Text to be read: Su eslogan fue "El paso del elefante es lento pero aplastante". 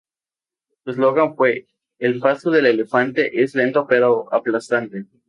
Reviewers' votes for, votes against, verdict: 4, 0, accepted